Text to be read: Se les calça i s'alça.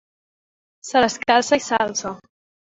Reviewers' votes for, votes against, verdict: 2, 0, accepted